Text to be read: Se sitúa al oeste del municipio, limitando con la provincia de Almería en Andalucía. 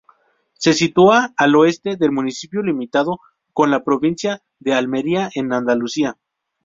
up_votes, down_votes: 0, 2